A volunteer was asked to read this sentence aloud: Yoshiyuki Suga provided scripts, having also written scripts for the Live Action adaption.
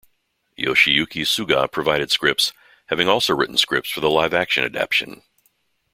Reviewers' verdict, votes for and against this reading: accepted, 2, 0